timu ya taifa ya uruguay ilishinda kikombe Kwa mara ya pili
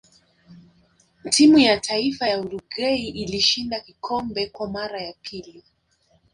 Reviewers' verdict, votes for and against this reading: rejected, 1, 2